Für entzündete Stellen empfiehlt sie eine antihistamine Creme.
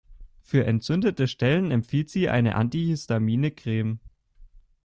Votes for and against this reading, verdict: 2, 0, accepted